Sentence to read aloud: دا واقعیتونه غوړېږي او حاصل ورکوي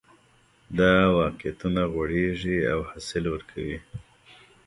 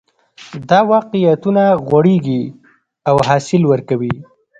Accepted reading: first